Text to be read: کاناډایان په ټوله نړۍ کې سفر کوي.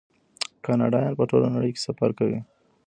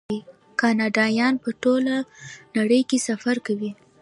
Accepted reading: first